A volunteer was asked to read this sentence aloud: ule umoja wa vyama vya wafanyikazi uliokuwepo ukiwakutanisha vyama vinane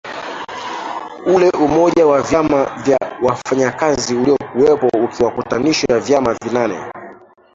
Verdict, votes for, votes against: rejected, 0, 2